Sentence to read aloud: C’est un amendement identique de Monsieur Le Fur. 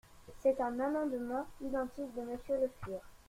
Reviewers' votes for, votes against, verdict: 2, 0, accepted